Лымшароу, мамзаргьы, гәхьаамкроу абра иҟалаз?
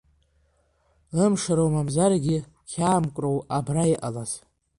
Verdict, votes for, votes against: accepted, 2, 0